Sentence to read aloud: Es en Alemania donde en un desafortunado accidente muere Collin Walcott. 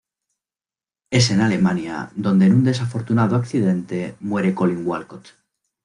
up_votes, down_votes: 2, 0